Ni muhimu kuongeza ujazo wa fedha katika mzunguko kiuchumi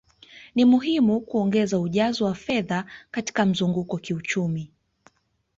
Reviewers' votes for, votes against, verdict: 2, 0, accepted